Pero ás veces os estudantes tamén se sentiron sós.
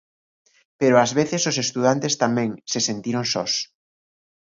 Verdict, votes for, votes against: accepted, 2, 0